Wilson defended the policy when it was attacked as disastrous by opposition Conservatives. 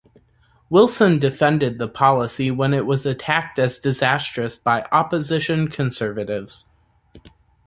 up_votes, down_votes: 2, 0